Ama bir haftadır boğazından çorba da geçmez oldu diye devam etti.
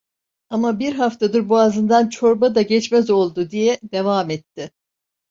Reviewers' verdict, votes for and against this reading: accepted, 2, 0